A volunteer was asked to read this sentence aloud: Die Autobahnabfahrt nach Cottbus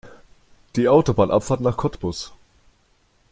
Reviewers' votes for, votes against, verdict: 3, 0, accepted